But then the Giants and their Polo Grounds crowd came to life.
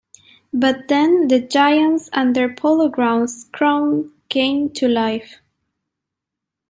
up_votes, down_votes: 1, 2